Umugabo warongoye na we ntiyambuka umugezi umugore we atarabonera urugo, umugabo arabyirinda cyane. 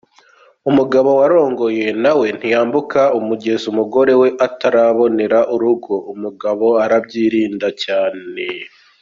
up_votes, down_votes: 0, 2